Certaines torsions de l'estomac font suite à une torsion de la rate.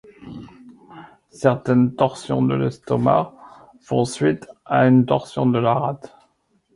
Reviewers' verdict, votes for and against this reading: accepted, 2, 0